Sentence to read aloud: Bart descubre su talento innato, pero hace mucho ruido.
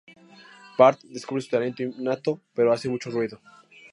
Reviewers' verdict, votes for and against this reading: accepted, 4, 0